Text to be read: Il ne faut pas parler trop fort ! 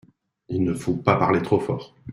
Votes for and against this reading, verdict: 2, 1, accepted